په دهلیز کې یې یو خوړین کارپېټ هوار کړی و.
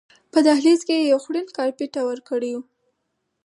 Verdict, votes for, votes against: accepted, 4, 0